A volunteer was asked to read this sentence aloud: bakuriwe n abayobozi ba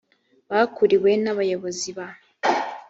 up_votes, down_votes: 2, 0